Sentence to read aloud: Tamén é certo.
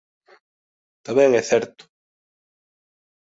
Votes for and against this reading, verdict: 2, 1, accepted